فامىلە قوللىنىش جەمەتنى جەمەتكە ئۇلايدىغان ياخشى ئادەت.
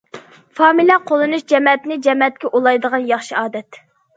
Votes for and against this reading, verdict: 2, 0, accepted